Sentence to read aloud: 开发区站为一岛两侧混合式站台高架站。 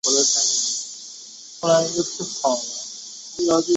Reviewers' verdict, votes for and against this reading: rejected, 2, 5